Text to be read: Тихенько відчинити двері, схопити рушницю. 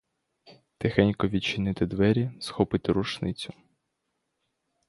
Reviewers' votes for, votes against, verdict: 2, 0, accepted